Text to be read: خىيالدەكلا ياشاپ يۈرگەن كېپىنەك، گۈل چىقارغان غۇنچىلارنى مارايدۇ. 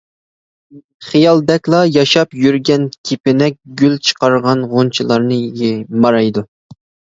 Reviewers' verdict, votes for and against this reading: rejected, 1, 2